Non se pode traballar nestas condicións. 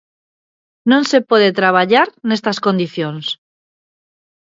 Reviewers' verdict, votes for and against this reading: accepted, 3, 0